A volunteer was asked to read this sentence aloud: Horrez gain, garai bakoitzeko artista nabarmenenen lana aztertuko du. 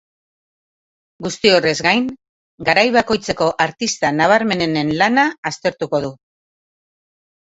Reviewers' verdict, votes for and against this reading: rejected, 0, 3